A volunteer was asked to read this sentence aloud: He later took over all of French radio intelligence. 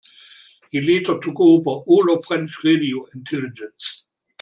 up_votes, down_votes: 2, 0